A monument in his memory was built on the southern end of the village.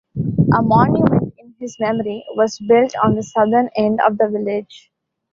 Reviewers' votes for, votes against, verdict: 1, 2, rejected